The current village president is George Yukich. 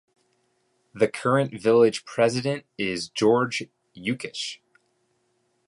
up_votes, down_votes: 2, 0